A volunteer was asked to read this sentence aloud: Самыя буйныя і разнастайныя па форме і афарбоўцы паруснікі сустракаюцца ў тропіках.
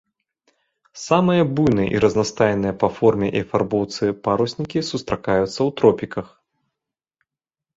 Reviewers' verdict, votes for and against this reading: rejected, 1, 2